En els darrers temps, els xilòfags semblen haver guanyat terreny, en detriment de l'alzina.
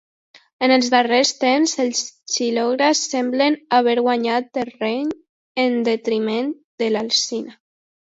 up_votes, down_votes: 0, 3